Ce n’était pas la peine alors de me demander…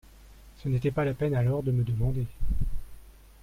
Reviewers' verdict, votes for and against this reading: accepted, 2, 0